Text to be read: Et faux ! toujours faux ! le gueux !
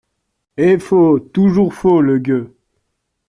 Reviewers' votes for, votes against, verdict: 2, 0, accepted